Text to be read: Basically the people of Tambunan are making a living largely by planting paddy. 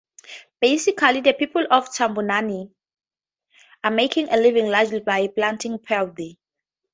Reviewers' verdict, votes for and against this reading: accepted, 2, 0